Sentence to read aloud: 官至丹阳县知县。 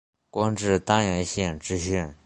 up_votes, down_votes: 2, 0